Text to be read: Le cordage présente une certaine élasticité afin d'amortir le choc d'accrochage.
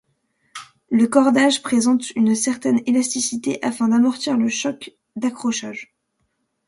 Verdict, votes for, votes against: accepted, 2, 0